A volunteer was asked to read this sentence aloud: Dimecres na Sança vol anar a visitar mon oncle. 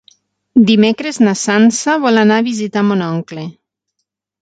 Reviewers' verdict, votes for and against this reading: accepted, 12, 0